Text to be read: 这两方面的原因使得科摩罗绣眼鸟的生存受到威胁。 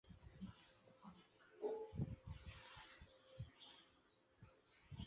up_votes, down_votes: 0, 3